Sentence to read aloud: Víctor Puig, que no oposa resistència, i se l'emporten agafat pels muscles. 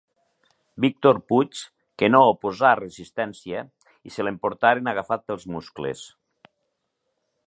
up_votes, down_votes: 0, 2